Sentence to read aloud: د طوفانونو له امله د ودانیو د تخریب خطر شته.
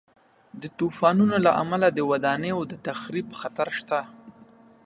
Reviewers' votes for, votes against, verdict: 3, 0, accepted